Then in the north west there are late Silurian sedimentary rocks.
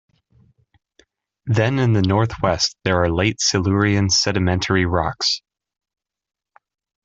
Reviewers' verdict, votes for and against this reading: rejected, 1, 2